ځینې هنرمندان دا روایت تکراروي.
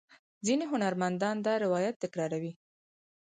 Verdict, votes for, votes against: accepted, 4, 0